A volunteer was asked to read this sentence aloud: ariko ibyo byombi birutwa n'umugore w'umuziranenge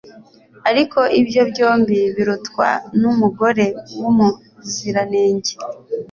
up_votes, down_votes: 2, 0